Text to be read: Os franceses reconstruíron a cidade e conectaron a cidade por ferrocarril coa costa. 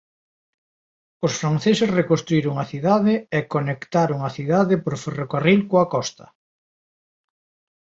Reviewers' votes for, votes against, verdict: 2, 0, accepted